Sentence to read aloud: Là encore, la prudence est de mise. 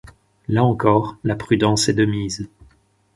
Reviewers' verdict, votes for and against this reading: accepted, 4, 0